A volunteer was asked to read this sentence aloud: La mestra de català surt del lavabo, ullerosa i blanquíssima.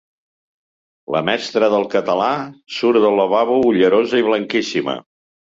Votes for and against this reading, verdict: 1, 2, rejected